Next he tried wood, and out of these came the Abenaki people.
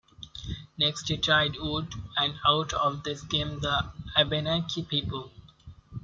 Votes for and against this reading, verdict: 1, 2, rejected